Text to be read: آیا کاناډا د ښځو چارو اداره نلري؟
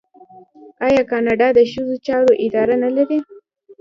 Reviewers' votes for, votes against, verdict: 0, 2, rejected